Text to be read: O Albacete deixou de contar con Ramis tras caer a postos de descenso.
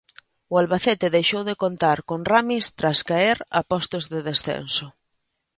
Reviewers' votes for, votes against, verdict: 2, 0, accepted